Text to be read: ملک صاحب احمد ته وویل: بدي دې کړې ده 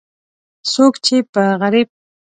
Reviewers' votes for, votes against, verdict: 0, 2, rejected